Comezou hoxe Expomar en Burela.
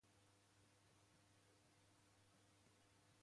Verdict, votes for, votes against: rejected, 0, 2